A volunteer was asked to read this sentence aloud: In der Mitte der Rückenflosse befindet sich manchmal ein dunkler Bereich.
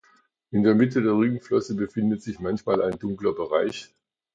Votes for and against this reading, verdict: 2, 0, accepted